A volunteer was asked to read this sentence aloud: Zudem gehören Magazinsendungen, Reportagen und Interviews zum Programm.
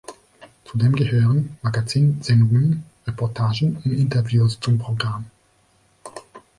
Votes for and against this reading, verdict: 1, 3, rejected